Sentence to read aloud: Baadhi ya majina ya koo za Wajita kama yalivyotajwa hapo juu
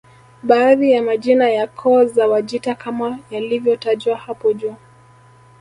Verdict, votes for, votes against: accepted, 2, 0